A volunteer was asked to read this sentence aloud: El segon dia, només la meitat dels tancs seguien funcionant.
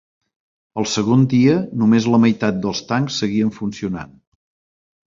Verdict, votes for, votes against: accepted, 3, 0